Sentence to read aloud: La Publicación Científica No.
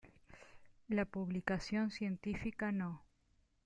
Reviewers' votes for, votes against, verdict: 2, 0, accepted